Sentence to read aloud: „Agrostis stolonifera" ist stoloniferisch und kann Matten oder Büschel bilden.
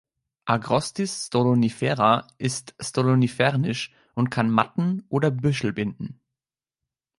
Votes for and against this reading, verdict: 0, 2, rejected